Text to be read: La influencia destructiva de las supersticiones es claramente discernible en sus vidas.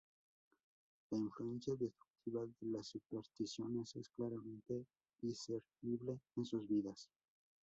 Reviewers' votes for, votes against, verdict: 0, 2, rejected